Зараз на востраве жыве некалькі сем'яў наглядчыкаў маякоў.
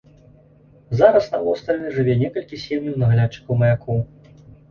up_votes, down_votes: 2, 0